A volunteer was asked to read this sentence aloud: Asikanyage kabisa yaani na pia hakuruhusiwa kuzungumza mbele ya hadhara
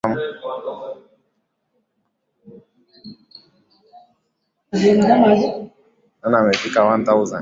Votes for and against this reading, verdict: 0, 2, rejected